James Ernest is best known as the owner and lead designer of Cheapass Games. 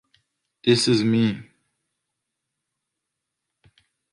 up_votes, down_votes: 0, 3